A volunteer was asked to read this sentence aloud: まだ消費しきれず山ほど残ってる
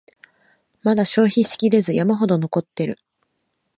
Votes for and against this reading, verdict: 2, 0, accepted